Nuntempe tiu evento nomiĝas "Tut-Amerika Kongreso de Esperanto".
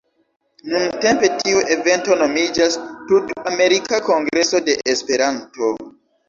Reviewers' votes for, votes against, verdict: 2, 0, accepted